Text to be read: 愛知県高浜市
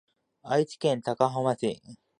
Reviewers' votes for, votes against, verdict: 2, 0, accepted